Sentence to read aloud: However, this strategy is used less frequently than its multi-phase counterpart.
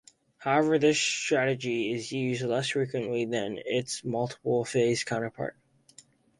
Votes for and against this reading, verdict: 4, 4, rejected